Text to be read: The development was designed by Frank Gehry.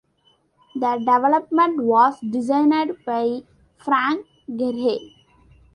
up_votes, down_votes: 2, 1